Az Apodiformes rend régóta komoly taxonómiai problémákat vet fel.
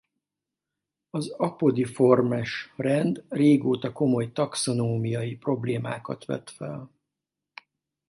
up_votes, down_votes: 4, 2